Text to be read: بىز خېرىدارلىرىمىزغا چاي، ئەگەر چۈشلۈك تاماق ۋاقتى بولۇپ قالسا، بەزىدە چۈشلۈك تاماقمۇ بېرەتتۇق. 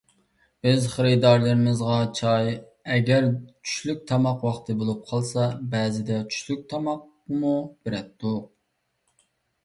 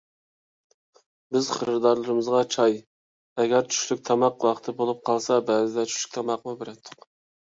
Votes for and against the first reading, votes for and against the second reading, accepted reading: 1, 2, 2, 0, second